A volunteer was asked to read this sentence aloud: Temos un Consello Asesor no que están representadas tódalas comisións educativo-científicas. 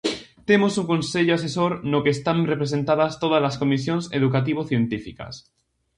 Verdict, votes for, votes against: accepted, 2, 0